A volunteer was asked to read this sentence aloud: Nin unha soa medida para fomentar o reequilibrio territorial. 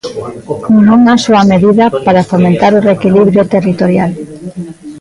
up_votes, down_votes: 0, 2